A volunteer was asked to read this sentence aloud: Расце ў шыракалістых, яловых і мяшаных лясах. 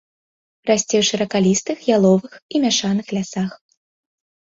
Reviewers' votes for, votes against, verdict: 2, 0, accepted